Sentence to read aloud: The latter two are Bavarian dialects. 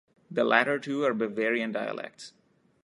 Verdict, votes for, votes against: rejected, 1, 2